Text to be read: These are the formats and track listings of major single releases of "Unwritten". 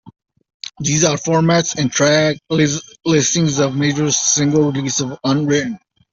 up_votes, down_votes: 0, 2